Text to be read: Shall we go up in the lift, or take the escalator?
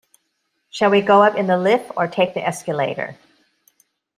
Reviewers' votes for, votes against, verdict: 2, 0, accepted